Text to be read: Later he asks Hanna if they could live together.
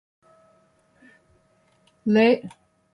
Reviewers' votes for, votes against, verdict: 1, 2, rejected